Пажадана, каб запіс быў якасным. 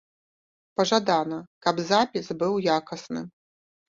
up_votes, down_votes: 1, 2